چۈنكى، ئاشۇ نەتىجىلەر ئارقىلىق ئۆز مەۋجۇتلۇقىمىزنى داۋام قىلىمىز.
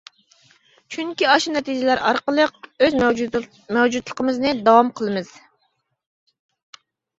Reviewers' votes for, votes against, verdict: 1, 2, rejected